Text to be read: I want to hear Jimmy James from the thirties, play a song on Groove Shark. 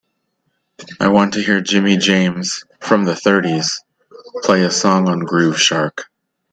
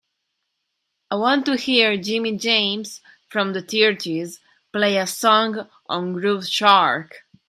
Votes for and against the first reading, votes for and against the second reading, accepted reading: 3, 0, 0, 2, first